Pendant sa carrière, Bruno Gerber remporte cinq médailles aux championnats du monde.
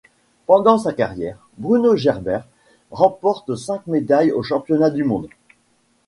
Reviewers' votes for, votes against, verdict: 1, 2, rejected